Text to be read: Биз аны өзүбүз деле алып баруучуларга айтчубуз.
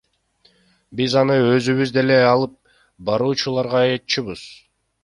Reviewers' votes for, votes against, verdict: 1, 2, rejected